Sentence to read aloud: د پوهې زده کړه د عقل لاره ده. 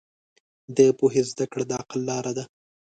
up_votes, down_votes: 2, 0